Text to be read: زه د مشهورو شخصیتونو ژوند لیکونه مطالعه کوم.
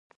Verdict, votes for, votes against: rejected, 0, 3